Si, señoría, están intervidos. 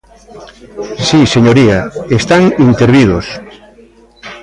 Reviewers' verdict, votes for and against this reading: rejected, 1, 2